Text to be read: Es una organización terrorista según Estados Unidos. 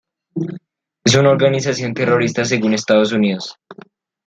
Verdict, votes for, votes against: accepted, 2, 0